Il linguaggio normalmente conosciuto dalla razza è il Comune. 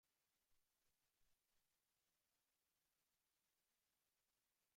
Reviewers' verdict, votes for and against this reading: rejected, 0, 2